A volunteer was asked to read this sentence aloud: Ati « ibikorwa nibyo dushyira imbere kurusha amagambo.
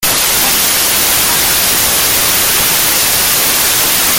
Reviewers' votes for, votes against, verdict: 0, 3, rejected